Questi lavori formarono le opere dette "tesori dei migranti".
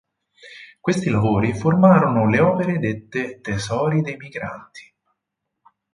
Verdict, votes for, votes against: accepted, 6, 4